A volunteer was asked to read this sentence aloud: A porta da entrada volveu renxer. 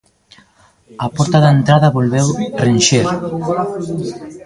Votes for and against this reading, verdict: 0, 2, rejected